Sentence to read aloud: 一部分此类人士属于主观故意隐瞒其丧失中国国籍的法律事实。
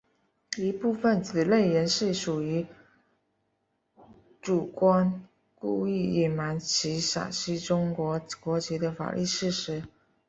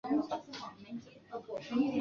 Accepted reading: first